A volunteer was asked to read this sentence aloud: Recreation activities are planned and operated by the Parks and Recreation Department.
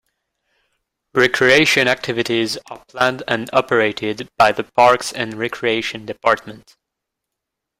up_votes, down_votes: 2, 1